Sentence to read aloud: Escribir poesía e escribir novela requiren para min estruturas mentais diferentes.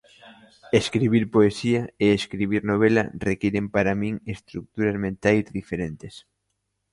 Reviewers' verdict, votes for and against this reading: accepted, 2, 1